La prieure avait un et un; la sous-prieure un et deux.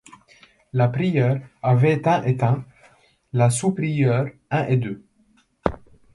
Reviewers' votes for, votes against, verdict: 2, 0, accepted